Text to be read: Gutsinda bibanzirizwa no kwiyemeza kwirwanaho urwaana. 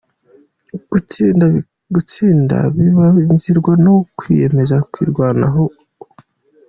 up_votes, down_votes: 0, 2